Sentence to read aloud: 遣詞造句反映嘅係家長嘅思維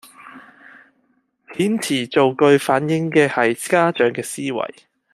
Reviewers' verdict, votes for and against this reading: accepted, 2, 0